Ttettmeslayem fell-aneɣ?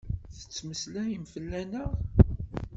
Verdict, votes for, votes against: accepted, 2, 0